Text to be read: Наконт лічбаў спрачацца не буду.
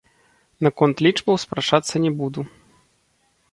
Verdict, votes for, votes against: rejected, 1, 2